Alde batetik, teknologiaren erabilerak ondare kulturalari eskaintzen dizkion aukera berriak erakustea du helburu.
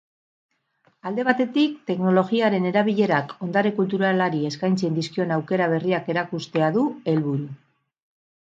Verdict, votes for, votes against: accepted, 4, 0